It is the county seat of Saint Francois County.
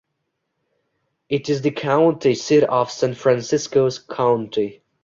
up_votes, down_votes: 0, 3